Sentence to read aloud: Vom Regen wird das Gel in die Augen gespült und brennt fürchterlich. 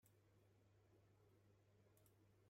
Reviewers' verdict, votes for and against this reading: rejected, 0, 2